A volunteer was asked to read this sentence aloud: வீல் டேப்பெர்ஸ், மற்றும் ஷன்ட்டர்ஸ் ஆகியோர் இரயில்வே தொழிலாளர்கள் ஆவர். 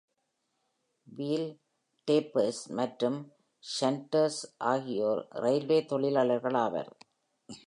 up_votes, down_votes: 3, 1